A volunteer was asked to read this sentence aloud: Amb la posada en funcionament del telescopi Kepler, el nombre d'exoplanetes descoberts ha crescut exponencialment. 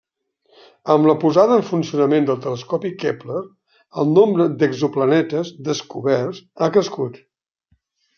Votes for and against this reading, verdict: 0, 2, rejected